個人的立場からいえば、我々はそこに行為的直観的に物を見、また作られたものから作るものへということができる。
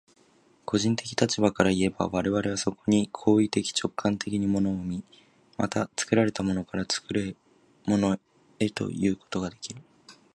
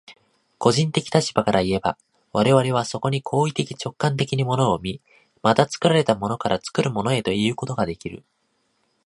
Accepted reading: second